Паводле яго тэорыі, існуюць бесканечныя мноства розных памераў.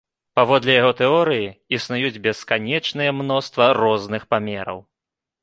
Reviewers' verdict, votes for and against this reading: accepted, 3, 0